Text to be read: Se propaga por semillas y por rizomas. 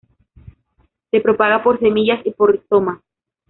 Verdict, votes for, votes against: rejected, 1, 2